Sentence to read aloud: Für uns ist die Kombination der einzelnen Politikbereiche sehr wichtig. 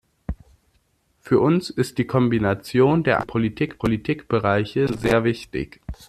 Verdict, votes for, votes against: rejected, 0, 2